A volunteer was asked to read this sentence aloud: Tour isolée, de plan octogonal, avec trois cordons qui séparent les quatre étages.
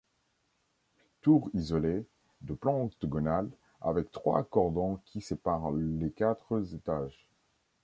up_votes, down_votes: 1, 2